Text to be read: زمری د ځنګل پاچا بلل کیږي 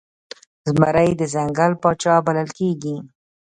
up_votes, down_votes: 1, 2